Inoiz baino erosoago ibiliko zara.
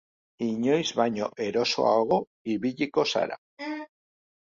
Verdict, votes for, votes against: accepted, 2, 0